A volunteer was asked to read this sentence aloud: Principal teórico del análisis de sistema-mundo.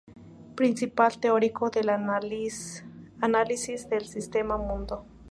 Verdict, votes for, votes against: rejected, 2, 4